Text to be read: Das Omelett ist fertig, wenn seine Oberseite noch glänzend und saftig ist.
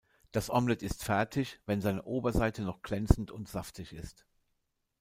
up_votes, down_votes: 1, 2